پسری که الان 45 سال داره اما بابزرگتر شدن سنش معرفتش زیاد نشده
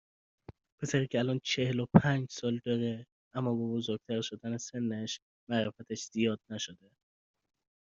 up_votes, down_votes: 0, 2